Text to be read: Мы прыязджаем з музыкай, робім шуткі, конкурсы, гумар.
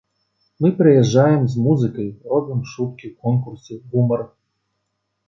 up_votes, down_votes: 2, 0